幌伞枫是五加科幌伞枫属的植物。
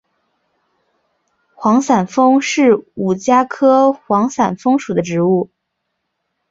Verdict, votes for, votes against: accepted, 2, 0